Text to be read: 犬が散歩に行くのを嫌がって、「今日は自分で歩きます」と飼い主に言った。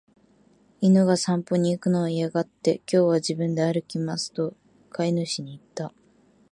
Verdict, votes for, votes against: accepted, 3, 0